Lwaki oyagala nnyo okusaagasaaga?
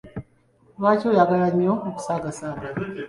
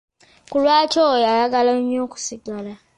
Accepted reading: first